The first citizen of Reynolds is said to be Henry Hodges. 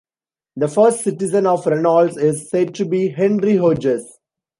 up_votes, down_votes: 2, 0